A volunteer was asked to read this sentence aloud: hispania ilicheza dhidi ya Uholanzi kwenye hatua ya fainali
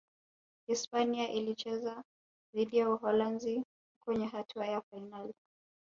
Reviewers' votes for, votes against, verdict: 2, 0, accepted